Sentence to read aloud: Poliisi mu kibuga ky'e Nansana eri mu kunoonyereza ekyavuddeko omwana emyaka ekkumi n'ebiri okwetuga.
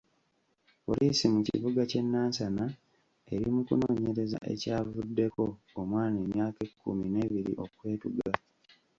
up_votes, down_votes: 0, 2